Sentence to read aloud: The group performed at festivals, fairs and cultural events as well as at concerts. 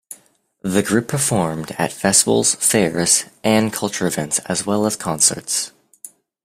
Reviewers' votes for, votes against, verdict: 1, 2, rejected